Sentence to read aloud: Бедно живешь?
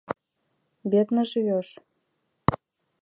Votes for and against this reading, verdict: 2, 1, accepted